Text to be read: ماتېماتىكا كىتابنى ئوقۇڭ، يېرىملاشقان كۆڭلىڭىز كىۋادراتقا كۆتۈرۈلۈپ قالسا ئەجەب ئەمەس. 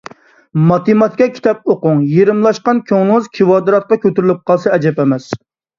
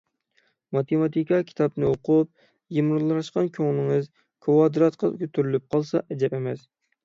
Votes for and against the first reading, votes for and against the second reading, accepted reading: 3, 1, 3, 6, first